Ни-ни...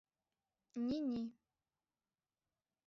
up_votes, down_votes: 1, 2